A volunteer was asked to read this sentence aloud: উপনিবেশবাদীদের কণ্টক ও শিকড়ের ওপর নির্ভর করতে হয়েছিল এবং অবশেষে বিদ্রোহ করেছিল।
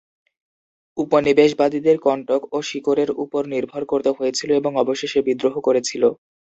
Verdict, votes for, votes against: rejected, 0, 2